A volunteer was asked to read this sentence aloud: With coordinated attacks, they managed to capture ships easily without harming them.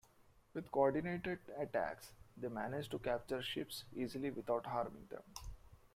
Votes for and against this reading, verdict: 2, 1, accepted